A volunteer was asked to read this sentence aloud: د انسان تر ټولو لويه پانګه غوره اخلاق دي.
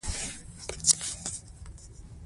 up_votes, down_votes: 2, 0